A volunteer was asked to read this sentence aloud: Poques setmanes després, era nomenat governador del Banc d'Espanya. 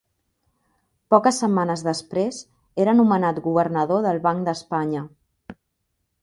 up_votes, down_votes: 3, 0